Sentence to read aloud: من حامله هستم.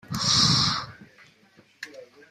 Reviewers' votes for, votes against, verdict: 1, 2, rejected